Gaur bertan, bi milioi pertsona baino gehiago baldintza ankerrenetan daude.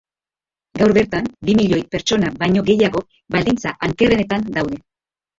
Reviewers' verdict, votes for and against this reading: accepted, 2, 0